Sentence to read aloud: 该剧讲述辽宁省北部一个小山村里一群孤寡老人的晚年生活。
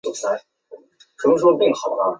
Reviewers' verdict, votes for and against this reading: rejected, 0, 3